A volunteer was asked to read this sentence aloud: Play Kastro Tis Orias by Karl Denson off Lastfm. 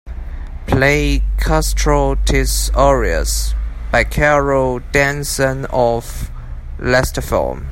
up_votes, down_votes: 3, 1